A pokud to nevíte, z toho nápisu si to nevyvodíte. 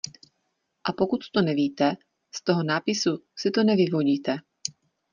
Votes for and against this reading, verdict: 2, 0, accepted